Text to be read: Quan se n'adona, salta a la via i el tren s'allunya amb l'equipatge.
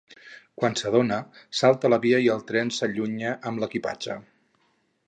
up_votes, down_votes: 2, 4